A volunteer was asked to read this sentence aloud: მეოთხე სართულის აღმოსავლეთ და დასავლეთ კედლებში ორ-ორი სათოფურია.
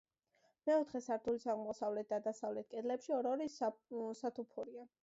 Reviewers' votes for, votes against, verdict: 2, 1, accepted